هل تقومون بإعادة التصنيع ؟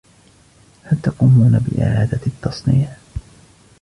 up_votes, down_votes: 1, 2